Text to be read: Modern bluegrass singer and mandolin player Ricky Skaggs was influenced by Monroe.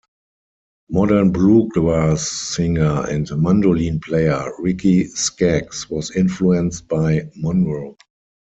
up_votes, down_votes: 4, 0